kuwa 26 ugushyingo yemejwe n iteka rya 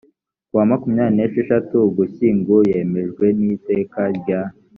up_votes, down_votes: 0, 2